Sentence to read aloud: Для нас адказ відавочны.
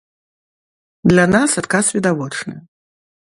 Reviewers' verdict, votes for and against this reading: accepted, 2, 0